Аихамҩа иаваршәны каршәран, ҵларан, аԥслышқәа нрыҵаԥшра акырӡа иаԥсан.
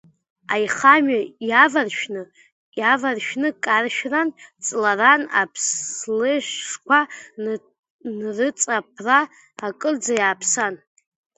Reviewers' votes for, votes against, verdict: 0, 2, rejected